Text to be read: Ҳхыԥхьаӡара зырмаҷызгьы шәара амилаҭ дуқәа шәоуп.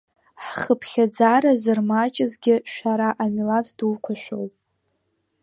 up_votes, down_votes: 2, 1